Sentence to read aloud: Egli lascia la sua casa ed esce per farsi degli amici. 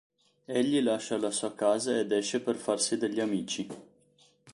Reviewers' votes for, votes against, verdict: 2, 0, accepted